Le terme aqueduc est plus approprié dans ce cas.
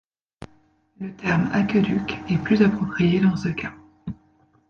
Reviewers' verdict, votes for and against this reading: rejected, 1, 2